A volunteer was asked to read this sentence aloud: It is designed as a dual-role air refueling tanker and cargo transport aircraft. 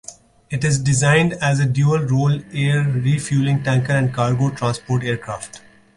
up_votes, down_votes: 2, 0